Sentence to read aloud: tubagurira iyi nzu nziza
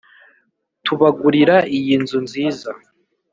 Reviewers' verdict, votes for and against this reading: accepted, 2, 0